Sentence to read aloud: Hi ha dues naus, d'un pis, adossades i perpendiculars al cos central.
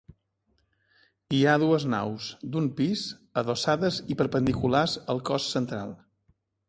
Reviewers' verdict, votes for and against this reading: accepted, 2, 0